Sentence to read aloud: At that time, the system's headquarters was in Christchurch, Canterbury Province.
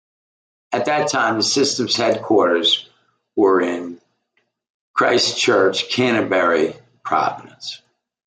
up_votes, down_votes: 0, 2